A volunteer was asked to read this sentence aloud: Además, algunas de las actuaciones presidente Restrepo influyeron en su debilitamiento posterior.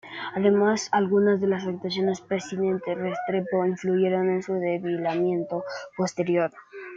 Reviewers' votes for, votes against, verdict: 0, 2, rejected